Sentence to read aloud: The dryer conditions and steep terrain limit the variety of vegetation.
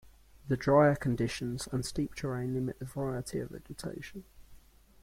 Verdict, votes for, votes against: rejected, 0, 2